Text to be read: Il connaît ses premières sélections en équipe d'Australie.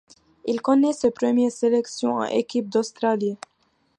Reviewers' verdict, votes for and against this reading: rejected, 0, 2